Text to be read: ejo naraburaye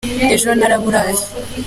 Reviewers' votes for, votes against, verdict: 2, 0, accepted